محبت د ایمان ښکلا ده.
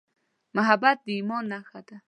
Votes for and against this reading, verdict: 2, 0, accepted